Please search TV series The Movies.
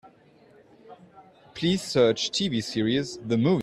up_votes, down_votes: 0, 2